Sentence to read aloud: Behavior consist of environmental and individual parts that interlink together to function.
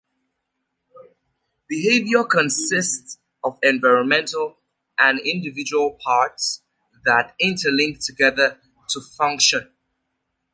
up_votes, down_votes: 2, 1